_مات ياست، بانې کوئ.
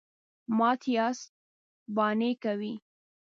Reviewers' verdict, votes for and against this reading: accepted, 2, 0